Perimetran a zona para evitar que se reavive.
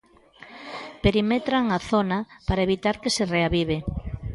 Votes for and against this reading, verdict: 1, 2, rejected